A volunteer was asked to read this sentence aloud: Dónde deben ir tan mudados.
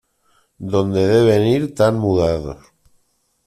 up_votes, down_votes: 1, 2